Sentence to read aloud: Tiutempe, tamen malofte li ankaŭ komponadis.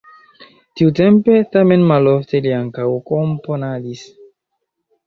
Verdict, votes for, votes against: accepted, 3, 0